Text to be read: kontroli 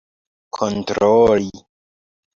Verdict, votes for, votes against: accepted, 2, 0